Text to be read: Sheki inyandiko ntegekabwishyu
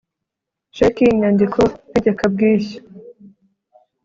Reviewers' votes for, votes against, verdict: 2, 0, accepted